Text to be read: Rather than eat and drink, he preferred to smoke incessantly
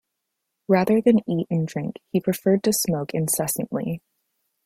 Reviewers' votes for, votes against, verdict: 2, 0, accepted